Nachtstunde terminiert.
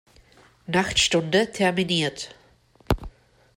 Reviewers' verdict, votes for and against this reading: accepted, 2, 0